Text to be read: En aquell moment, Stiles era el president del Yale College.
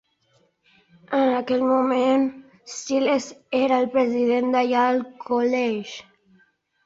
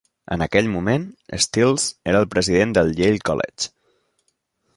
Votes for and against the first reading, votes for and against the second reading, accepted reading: 0, 2, 2, 0, second